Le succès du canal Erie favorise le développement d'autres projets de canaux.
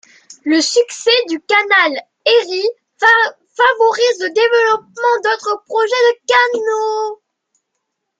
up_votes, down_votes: 0, 2